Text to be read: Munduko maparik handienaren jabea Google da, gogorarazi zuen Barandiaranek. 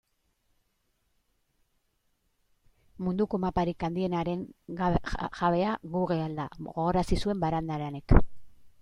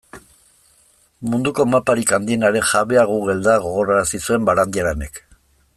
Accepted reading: second